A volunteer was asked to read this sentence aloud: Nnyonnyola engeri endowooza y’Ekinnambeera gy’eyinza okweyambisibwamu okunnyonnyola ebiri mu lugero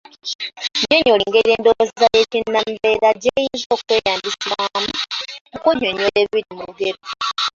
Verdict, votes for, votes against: rejected, 0, 2